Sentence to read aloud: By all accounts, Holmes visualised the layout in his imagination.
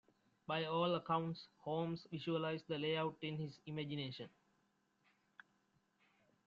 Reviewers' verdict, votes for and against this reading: accepted, 2, 0